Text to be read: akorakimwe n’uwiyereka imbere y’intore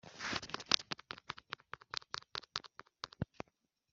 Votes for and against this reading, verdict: 0, 2, rejected